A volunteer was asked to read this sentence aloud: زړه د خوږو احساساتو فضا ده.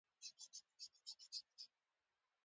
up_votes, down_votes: 1, 2